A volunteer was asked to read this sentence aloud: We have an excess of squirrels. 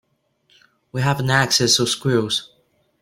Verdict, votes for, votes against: rejected, 0, 2